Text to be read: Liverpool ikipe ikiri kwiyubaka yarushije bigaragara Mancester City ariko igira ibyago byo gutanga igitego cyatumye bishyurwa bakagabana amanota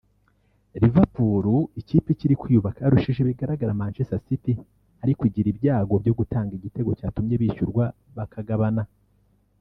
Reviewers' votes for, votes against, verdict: 0, 3, rejected